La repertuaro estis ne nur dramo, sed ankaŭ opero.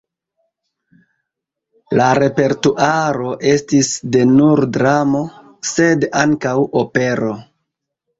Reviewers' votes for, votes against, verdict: 1, 2, rejected